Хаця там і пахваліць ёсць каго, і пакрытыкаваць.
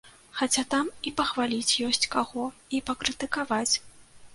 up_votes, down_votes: 2, 0